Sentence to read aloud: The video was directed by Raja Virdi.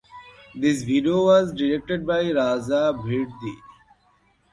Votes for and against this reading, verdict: 1, 2, rejected